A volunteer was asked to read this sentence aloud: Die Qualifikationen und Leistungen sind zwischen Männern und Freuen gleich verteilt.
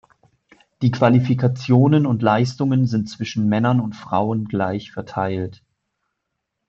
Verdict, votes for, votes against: rejected, 1, 2